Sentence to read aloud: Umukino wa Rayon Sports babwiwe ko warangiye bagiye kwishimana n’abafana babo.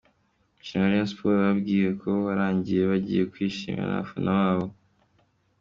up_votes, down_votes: 1, 2